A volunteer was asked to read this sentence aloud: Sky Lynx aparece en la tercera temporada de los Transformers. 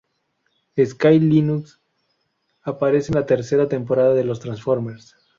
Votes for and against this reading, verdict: 0, 2, rejected